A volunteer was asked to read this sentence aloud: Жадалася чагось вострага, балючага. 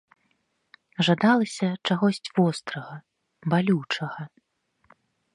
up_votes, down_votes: 1, 2